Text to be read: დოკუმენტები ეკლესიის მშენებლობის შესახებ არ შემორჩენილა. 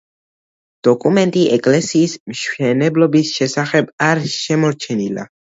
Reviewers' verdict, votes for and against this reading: rejected, 1, 2